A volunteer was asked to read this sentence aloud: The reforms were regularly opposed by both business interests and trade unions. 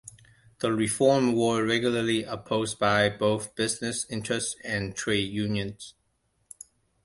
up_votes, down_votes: 0, 2